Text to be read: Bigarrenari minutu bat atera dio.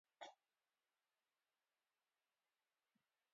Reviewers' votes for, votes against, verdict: 0, 3, rejected